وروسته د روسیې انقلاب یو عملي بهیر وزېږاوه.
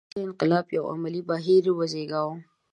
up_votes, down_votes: 1, 2